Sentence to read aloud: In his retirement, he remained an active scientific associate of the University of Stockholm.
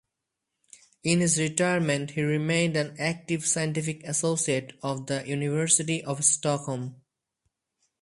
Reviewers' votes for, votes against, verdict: 4, 0, accepted